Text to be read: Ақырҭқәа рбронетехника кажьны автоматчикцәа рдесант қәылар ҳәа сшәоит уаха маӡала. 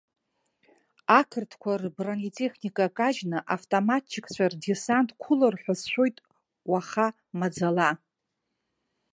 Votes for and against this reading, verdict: 2, 0, accepted